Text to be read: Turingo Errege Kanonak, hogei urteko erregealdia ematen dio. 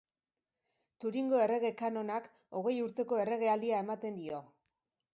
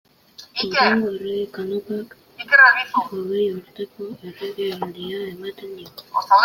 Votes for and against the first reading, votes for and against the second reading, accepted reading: 3, 0, 0, 2, first